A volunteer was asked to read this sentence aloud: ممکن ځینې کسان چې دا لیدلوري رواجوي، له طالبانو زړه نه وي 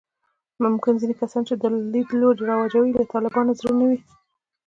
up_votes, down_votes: 0, 2